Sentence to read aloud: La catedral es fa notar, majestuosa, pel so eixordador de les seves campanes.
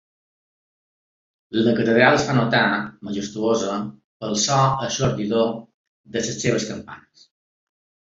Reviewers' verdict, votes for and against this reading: rejected, 0, 2